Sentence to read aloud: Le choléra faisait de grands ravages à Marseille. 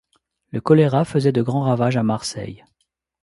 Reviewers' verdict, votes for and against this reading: accepted, 2, 0